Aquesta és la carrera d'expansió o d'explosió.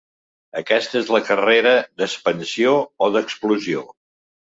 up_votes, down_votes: 2, 0